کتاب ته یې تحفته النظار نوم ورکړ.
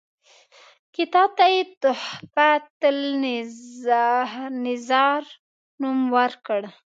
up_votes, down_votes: 1, 2